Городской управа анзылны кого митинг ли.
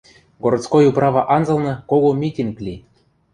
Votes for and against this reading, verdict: 2, 0, accepted